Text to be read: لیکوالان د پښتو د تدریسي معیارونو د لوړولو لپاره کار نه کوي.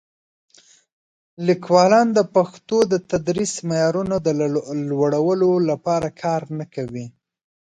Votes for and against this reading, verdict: 1, 2, rejected